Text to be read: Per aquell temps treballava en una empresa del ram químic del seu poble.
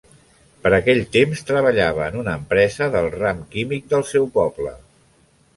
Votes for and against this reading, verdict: 1, 2, rejected